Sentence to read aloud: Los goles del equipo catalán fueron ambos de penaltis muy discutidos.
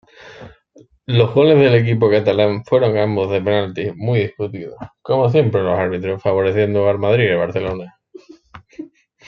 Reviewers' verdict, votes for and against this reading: rejected, 0, 2